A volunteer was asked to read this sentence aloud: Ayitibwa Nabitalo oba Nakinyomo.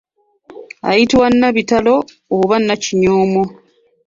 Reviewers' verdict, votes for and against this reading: rejected, 1, 2